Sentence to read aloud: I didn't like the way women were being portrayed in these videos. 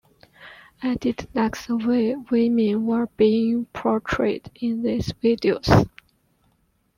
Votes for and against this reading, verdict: 1, 2, rejected